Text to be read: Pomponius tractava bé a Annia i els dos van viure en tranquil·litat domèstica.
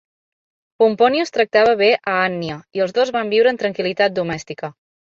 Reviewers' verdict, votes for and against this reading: accepted, 3, 1